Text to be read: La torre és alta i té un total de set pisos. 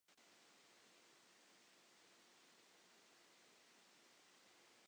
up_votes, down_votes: 0, 2